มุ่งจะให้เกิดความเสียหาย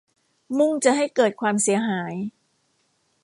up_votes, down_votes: 2, 0